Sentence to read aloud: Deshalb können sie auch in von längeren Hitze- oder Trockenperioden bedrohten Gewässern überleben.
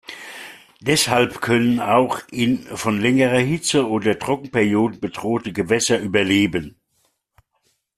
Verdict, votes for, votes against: rejected, 0, 2